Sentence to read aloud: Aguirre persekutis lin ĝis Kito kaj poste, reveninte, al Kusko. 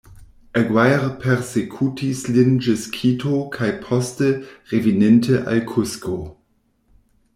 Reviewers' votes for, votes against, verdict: 0, 2, rejected